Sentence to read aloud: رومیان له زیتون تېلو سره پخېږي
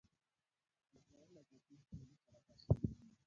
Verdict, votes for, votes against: rejected, 0, 2